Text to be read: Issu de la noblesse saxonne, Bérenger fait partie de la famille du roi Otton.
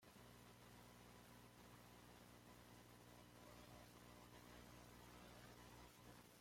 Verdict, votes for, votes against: rejected, 0, 2